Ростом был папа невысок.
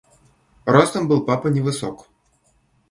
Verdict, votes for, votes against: accepted, 2, 0